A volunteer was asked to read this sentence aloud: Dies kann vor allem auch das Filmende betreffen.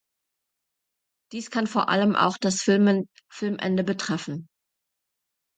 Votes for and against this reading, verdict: 0, 2, rejected